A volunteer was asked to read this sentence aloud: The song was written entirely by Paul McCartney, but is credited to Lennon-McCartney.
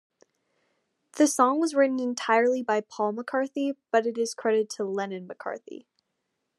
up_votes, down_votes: 0, 2